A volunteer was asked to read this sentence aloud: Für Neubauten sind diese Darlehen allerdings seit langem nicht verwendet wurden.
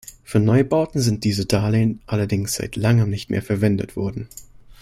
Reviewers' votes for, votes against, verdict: 1, 2, rejected